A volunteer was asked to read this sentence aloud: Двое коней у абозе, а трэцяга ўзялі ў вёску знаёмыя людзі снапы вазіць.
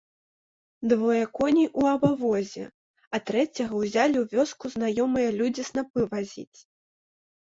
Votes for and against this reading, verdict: 0, 2, rejected